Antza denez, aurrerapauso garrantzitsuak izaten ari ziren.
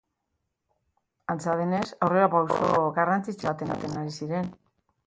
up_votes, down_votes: 1, 2